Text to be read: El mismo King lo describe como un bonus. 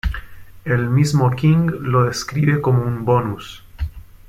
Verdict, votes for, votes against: accepted, 2, 0